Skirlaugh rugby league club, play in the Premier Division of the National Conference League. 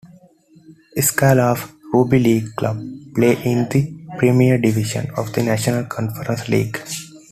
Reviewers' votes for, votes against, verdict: 2, 1, accepted